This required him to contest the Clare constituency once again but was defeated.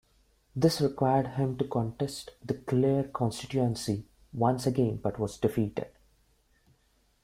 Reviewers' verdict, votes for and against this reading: accepted, 2, 0